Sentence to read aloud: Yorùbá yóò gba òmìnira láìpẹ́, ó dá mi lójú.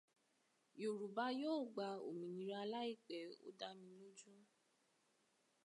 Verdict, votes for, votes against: accepted, 2, 0